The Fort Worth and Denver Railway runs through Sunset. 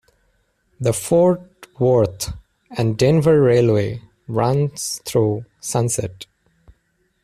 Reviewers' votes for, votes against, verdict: 2, 0, accepted